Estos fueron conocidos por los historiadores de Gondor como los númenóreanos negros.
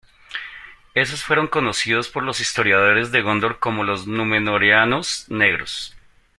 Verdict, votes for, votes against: rejected, 0, 2